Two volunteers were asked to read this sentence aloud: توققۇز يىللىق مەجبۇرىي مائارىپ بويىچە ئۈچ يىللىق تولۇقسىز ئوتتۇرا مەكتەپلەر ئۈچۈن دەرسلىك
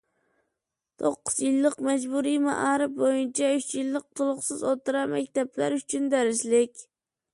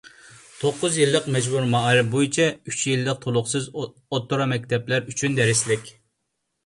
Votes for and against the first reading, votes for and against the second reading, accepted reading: 2, 0, 1, 2, first